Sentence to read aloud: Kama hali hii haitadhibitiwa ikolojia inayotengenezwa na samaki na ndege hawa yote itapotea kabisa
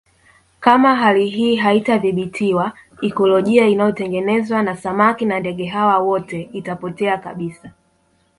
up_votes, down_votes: 1, 2